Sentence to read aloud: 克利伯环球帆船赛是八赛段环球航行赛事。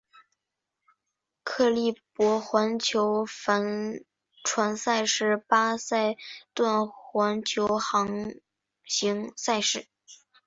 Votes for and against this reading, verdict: 2, 1, accepted